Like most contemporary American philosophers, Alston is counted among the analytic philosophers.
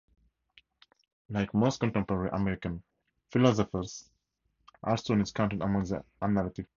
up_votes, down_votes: 0, 4